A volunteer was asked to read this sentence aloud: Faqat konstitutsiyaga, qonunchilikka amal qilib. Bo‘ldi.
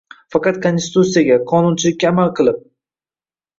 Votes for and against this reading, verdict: 0, 2, rejected